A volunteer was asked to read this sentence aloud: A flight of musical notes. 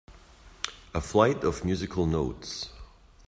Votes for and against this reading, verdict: 2, 0, accepted